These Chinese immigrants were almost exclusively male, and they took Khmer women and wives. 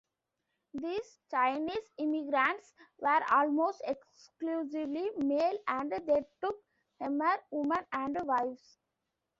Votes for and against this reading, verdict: 0, 2, rejected